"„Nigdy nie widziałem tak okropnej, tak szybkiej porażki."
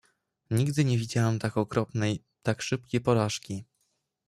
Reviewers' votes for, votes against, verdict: 0, 2, rejected